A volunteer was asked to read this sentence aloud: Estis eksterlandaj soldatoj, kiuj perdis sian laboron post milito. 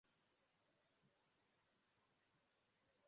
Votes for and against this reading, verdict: 0, 2, rejected